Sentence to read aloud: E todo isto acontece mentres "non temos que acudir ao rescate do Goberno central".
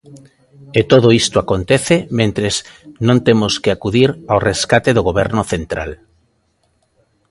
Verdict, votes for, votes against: accepted, 3, 0